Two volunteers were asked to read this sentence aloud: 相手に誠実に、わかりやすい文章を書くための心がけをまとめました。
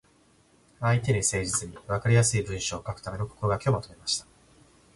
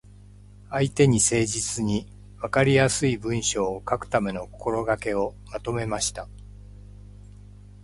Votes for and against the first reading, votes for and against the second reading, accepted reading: 2, 0, 1, 2, first